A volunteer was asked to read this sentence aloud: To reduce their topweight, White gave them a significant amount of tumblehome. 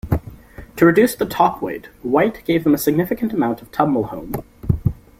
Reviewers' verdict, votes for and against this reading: rejected, 0, 2